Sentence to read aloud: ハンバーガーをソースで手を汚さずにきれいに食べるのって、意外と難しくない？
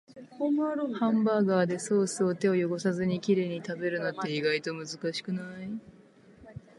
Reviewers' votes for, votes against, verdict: 2, 0, accepted